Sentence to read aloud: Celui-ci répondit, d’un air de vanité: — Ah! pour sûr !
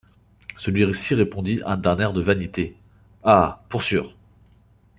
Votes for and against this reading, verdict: 0, 2, rejected